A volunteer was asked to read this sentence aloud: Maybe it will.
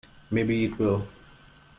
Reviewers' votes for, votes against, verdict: 2, 0, accepted